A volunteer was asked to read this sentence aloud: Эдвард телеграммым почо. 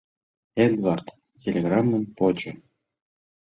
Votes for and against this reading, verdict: 2, 0, accepted